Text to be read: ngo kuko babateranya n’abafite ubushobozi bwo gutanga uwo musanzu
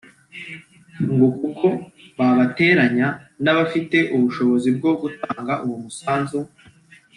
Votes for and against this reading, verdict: 3, 0, accepted